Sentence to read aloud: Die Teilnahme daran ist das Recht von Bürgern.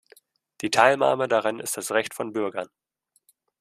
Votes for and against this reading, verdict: 2, 0, accepted